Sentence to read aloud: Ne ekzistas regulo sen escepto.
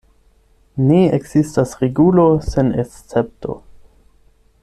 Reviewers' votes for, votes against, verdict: 8, 0, accepted